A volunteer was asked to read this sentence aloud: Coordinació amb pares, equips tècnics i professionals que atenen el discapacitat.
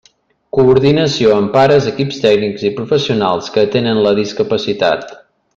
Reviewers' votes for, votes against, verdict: 0, 2, rejected